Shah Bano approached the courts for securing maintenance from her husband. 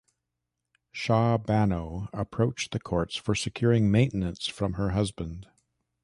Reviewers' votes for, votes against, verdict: 3, 0, accepted